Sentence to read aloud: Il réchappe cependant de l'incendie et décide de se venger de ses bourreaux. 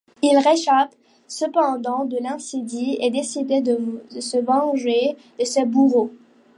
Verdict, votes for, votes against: rejected, 0, 2